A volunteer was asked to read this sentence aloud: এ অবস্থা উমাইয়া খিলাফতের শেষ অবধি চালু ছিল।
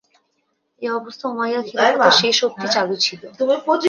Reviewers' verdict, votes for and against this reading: rejected, 0, 2